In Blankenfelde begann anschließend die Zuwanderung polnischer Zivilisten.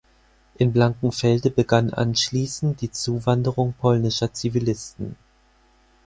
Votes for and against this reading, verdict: 4, 0, accepted